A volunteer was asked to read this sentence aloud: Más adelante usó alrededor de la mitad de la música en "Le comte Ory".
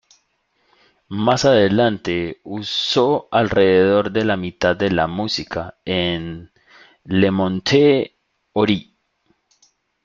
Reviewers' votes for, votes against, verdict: 1, 2, rejected